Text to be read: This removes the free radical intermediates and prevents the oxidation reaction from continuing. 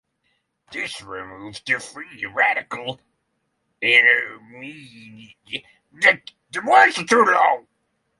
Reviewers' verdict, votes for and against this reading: rejected, 0, 6